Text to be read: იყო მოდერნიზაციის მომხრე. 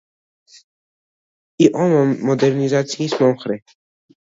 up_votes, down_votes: 2, 0